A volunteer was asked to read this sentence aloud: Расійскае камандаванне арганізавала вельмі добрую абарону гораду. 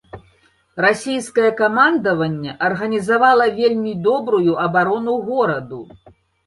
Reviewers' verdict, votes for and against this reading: accepted, 2, 0